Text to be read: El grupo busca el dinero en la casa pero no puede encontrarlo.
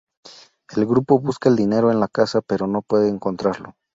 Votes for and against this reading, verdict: 2, 0, accepted